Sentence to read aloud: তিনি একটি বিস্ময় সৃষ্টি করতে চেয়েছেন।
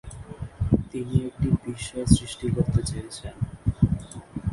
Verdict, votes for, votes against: rejected, 0, 2